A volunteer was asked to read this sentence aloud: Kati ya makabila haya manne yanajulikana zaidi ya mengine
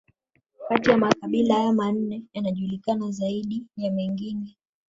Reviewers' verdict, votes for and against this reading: rejected, 1, 2